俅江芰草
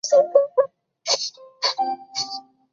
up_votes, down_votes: 0, 4